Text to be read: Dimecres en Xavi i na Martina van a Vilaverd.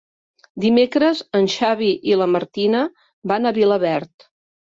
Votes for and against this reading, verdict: 0, 2, rejected